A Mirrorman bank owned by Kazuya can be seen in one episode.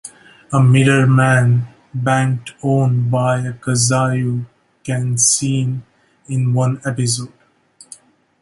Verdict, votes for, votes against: rejected, 0, 2